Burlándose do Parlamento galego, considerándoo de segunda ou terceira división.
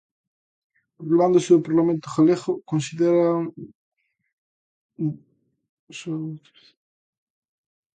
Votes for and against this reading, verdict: 0, 2, rejected